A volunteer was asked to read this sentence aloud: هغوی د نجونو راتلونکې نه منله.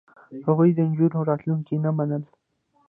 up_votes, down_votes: 2, 0